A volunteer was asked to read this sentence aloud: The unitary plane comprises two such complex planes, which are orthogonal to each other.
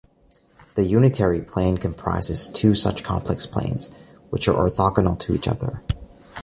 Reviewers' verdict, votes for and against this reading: accepted, 2, 0